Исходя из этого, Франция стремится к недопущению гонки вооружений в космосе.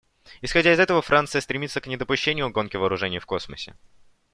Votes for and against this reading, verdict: 2, 0, accepted